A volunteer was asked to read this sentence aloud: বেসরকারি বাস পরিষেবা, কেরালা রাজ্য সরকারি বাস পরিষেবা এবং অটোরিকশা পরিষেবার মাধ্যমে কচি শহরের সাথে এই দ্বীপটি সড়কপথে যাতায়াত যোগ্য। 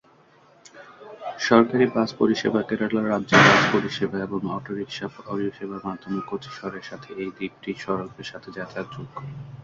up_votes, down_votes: 2, 6